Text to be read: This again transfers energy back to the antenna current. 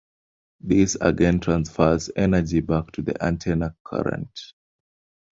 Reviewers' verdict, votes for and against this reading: accepted, 2, 1